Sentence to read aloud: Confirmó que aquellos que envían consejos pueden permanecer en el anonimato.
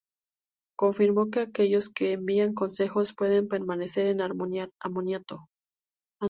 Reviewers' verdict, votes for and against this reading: rejected, 0, 2